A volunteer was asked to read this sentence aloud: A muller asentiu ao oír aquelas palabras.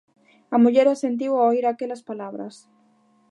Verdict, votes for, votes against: accepted, 2, 0